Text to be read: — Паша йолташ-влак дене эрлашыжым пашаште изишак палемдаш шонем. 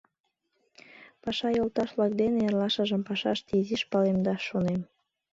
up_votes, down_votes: 1, 2